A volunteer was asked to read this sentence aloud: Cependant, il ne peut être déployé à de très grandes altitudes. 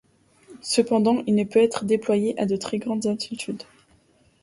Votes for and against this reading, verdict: 2, 0, accepted